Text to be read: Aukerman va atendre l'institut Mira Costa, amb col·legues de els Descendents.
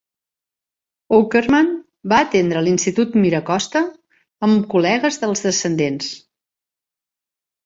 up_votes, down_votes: 2, 0